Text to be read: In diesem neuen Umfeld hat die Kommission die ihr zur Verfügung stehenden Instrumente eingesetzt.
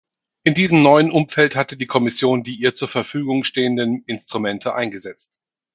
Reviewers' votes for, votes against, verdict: 0, 4, rejected